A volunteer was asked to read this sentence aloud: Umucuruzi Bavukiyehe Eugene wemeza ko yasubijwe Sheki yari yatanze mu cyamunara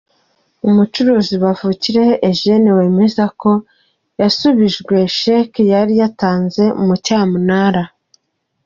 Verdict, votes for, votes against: accepted, 2, 1